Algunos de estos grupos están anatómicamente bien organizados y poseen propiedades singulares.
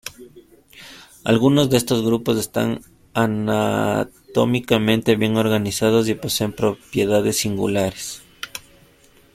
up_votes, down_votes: 2, 1